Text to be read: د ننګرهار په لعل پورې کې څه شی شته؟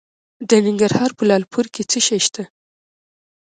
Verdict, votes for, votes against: accepted, 2, 0